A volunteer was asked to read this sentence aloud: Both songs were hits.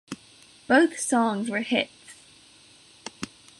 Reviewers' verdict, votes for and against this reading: accepted, 2, 0